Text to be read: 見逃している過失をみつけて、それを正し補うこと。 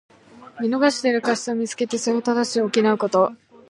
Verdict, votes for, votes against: accepted, 2, 0